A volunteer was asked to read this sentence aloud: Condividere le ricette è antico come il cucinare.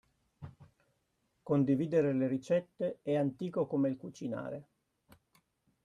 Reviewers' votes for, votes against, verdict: 2, 0, accepted